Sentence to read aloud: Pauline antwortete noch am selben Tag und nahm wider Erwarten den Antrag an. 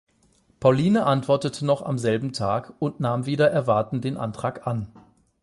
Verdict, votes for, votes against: accepted, 12, 0